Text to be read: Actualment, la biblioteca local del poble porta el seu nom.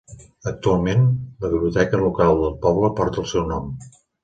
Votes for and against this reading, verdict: 2, 0, accepted